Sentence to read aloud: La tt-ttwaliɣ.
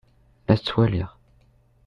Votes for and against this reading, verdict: 0, 2, rejected